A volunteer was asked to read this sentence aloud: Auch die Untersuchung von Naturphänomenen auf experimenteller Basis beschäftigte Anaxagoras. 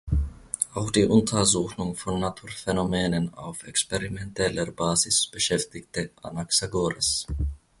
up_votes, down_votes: 3, 1